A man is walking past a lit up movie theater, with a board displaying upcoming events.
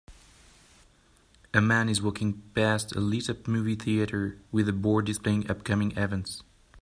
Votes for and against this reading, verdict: 2, 0, accepted